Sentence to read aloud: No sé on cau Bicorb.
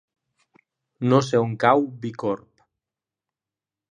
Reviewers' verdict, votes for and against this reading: accepted, 2, 0